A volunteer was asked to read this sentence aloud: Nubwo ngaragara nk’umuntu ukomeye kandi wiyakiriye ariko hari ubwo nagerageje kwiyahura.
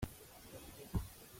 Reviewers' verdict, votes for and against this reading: rejected, 0, 2